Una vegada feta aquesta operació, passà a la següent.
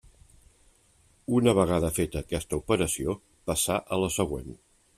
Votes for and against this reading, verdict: 3, 0, accepted